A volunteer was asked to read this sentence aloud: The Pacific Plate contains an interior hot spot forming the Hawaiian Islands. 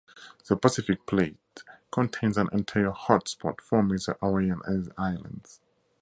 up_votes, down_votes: 0, 2